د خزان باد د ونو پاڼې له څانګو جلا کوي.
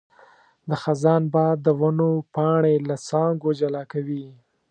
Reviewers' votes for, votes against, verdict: 2, 0, accepted